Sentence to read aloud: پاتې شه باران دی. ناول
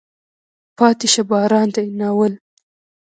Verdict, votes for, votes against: rejected, 1, 2